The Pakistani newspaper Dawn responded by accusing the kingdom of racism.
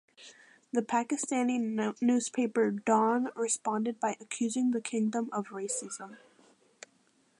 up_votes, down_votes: 0, 2